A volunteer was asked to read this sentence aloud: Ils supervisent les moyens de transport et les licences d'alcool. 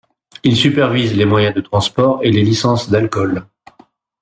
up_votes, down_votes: 1, 2